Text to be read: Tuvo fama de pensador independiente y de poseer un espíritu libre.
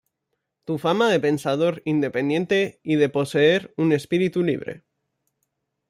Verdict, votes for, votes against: rejected, 1, 2